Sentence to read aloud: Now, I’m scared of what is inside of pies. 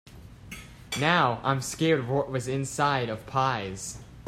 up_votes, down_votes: 1, 2